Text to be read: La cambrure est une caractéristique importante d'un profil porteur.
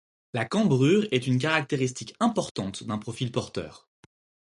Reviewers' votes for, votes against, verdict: 4, 0, accepted